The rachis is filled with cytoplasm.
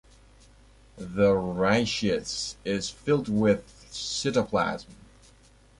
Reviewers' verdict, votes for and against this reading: rejected, 1, 2